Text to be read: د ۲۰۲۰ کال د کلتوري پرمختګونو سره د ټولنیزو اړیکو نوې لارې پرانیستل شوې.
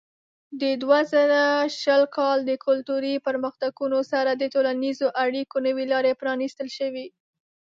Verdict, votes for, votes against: rejected, 0, 2